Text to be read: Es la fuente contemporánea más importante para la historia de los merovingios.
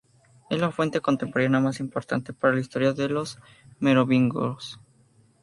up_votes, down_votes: 0, 2